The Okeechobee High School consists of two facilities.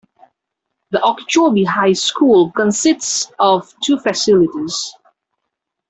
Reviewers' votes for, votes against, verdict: 2, 0, accepted